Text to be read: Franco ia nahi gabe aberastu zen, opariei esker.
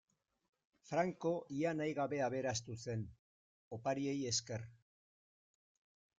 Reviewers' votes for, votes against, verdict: 0, 2, rejected